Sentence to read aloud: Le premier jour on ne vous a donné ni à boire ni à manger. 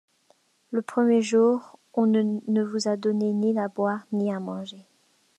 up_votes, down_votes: 0, 2